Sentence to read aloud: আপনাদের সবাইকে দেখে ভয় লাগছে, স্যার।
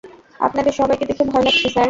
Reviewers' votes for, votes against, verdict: 0, 2, rejected